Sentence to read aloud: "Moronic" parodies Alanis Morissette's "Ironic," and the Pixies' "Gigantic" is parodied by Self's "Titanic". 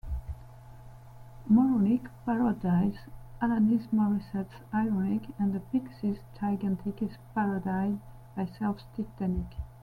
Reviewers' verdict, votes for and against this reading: accepted, 2, 1